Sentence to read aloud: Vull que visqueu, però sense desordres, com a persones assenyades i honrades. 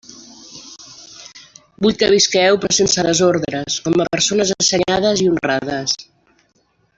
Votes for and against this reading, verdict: 1, 2, rejected